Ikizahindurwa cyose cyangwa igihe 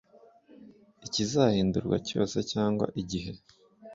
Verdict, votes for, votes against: accepted, 2, 0